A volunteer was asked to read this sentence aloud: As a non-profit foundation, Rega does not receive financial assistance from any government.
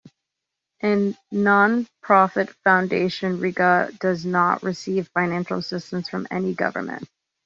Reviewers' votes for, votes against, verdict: 0, 2, rejected